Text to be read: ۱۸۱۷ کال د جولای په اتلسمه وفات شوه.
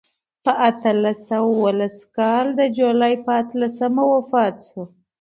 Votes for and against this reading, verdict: 0, 2, rejected